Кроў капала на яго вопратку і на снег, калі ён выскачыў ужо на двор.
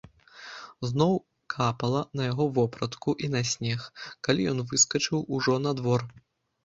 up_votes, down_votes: 1, 2